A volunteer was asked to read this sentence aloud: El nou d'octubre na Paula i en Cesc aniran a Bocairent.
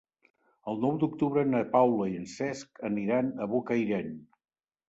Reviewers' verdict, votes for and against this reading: accepted, 3, 0